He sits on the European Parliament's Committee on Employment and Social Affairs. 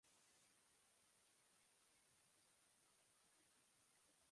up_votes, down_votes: 0, 2